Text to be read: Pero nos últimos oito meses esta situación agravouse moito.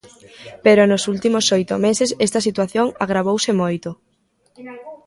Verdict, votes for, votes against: rejected, 0, 2